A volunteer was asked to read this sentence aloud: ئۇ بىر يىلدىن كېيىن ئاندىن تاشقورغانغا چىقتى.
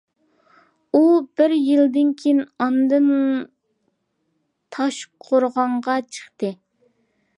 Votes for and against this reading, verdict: 2, 1, accepted